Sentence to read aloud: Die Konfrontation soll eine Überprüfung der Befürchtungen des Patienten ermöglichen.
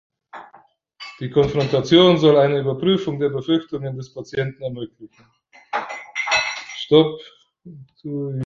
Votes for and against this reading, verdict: 0, 2, rejected